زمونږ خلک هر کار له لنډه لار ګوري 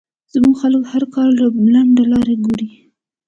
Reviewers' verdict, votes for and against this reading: accepted, 2, 1